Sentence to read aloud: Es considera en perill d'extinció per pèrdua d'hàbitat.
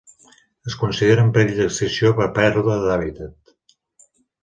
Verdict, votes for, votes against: accepted, 2, 1